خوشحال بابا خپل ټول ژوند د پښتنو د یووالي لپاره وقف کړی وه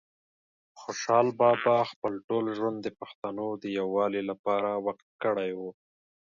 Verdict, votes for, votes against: accepted, 2, 0